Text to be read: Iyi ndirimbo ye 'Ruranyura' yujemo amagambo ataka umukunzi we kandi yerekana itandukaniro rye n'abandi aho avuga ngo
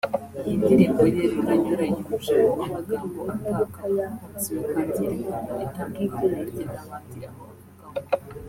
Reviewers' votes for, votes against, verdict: 0, 2, rejected